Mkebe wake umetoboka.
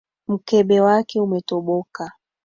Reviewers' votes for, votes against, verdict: 2, 0, accepted